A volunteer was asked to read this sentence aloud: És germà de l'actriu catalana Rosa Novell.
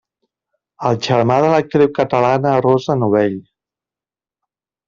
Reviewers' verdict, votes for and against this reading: rejected, 0, 2